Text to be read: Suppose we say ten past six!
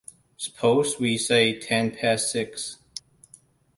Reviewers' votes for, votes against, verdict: 2, 0, accepted